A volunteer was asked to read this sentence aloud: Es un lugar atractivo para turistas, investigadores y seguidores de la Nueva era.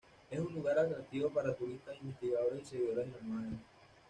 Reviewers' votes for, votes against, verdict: 0, 2, rejected